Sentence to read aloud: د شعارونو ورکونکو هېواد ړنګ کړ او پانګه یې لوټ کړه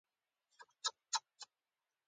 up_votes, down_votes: 1, 2